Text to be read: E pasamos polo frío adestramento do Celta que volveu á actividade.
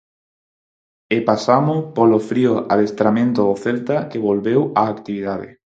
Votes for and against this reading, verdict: 4, 2, accepted